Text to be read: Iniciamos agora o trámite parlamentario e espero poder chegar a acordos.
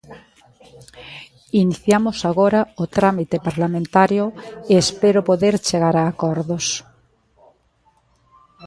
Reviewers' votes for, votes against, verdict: 1, 2, rejected